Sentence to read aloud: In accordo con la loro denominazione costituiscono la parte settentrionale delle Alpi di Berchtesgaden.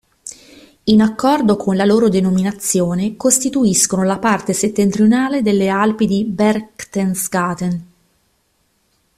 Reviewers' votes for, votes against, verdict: 1, 2, rejected